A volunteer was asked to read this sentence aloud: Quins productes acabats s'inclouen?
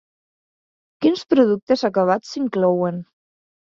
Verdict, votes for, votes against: accepted, 2, 0